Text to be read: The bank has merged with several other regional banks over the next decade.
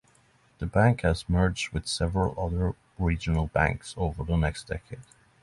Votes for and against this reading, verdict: 3, 0, accepted